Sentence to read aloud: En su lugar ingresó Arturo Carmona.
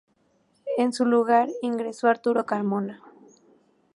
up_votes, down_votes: 2, 0